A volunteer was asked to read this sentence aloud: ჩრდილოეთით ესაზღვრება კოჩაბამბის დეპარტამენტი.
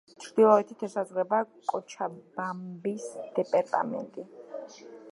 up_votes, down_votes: 0, 2